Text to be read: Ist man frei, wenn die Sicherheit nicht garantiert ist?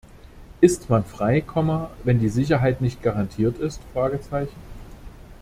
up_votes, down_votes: 0, 2